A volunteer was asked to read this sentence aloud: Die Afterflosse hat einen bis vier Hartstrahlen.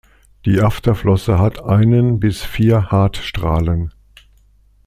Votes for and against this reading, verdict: 2, 0, accepted